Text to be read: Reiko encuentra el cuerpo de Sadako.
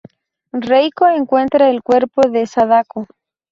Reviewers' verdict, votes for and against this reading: accepted, 2, 0